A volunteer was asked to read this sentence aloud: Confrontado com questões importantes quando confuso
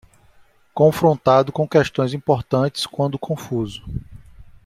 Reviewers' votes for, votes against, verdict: 2, 0, accepted